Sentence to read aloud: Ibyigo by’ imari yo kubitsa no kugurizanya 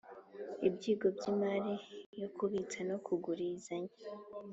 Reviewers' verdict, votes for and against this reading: accepted, 2, 0